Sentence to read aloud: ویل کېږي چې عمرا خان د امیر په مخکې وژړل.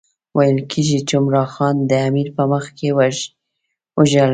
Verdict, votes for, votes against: rejected, 0, 2